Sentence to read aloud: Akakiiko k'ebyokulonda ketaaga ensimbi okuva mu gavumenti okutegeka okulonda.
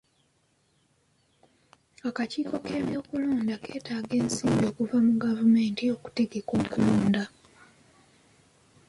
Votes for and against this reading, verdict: 2, 0, accepted